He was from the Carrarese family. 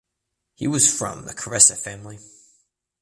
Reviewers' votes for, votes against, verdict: 1, 2, rejected